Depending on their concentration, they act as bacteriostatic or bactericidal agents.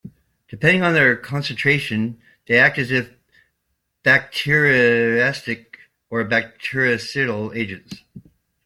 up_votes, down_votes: 0, 2